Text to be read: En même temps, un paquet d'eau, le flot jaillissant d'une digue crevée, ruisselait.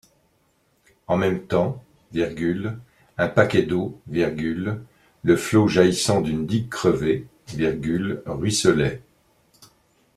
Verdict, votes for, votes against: rejected, 0, 2